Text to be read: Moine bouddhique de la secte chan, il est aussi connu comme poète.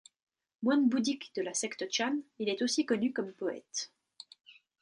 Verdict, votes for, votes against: accepted, 2, 0